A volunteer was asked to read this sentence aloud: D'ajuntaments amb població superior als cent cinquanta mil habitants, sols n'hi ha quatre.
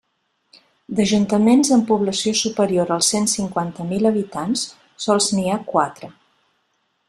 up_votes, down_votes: 3, 0